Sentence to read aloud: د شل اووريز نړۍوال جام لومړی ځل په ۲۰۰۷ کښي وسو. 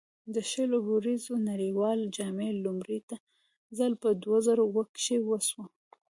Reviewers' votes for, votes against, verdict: 0, 2, rejected